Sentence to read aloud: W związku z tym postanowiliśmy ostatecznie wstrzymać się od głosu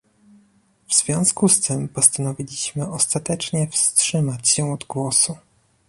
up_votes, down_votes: 2, 0